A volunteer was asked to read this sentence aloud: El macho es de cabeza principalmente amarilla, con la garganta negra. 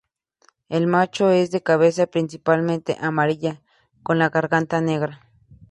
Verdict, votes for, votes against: accepted, 2, 0